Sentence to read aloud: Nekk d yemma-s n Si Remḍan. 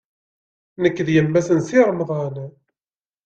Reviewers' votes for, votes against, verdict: 2, 0, accepted